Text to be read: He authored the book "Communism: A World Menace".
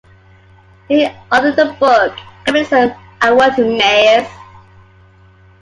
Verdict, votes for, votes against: accepted, 2, 1